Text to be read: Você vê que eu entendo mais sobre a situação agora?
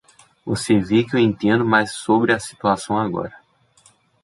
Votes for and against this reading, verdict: 0, 2, rejected